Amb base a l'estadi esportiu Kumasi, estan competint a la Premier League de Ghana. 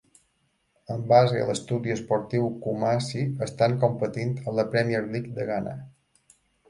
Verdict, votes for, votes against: rejected, 1, 2